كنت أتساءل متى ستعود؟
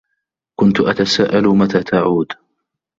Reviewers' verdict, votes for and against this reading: rejected, 0, 2